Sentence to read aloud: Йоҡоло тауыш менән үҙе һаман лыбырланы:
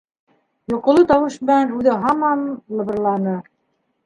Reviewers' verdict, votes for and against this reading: accepted, 2, 1